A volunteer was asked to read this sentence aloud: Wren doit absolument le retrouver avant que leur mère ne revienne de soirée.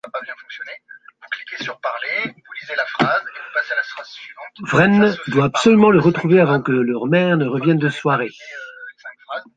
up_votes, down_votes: 0, 2